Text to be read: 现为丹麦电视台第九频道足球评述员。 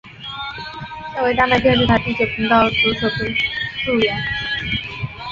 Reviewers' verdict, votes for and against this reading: rejected, 4, 6